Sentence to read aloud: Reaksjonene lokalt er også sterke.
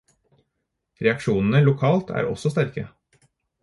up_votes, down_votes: 4, 0